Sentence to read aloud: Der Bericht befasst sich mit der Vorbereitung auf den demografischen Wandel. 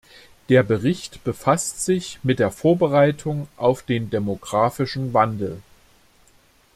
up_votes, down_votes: 2, 1